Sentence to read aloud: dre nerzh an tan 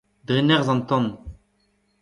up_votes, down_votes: 2, 0